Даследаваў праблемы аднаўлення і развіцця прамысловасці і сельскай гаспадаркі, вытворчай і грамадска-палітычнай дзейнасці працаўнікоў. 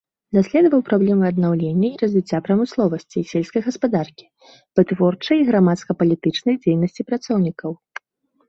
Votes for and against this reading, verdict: 1, 2, rejected